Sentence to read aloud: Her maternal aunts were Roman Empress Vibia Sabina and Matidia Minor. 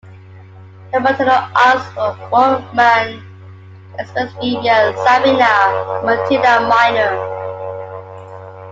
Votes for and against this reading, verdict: 0, 2, rejected